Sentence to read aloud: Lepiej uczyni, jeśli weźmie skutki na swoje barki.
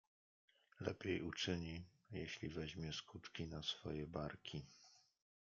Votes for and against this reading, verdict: 1, 2, rejected